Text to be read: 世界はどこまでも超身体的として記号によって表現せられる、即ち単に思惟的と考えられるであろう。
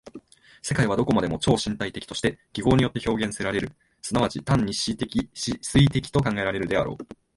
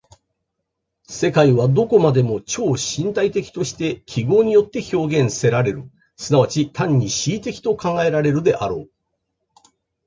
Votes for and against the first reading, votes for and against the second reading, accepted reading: 1, 2, 2, 0, second